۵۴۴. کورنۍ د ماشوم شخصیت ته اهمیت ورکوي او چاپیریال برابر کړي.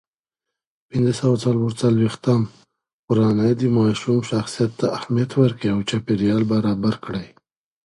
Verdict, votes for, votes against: rejected, 0, 2